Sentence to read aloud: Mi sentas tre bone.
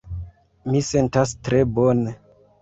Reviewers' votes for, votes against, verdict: 2, 0, accepted